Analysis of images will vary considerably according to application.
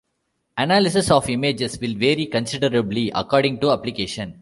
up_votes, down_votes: 2, 0